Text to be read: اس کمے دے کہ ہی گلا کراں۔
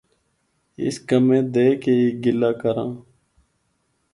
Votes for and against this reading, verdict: 4, 0, accepted